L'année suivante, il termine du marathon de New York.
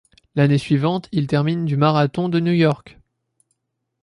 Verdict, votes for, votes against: accepted, 2, 0